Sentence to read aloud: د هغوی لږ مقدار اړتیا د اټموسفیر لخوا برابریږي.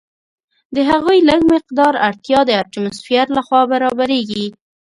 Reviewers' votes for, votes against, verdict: 2, 0, accepted